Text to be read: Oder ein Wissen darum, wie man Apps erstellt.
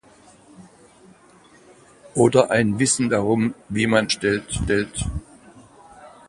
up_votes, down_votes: 0, 2